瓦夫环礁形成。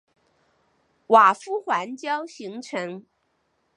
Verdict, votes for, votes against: accepted, 2, 1